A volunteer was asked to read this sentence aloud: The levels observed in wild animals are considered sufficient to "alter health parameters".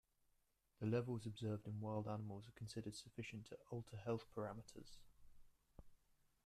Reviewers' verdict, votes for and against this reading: rejected, 0, 2